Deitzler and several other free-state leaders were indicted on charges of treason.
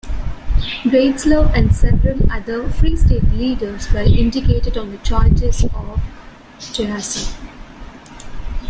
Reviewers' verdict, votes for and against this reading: rejected, 1, 2